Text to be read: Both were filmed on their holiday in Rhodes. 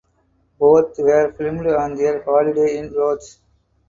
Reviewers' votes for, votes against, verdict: 0, 2, rejected